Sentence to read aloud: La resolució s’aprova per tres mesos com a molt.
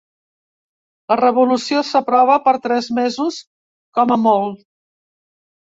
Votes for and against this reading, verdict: 1, 2, rejected